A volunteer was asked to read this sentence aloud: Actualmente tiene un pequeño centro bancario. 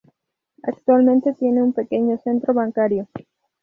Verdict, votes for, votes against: accepted, 4, 0